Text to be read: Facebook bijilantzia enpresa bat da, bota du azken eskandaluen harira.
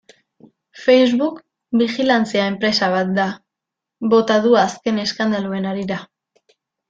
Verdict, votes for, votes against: accepted, 2, 0